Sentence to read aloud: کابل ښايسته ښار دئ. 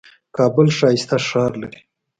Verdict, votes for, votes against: rejected, 1, 2